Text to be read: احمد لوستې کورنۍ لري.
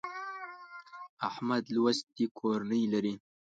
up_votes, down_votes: 0, 2